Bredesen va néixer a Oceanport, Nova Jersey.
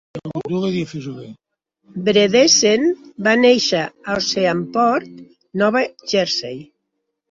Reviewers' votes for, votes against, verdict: 0, 2, rejected